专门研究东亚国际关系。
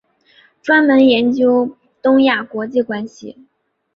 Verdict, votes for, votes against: accepted, 2, 0